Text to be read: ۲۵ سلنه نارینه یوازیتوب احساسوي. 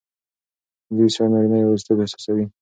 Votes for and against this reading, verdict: 0, 2, rejected